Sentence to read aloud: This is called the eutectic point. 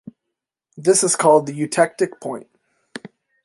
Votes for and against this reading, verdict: 2, 0, accepted